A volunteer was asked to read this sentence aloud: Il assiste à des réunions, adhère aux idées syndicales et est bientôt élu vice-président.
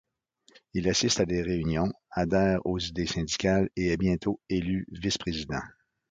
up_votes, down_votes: 2, 0